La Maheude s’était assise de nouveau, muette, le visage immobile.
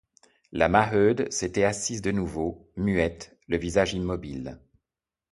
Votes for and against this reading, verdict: 1, 2, rejected